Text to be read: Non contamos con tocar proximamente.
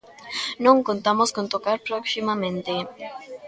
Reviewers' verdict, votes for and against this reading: rejected, 0, 2